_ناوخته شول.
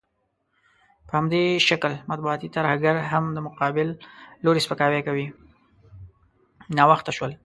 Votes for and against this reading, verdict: 0, 2, rejected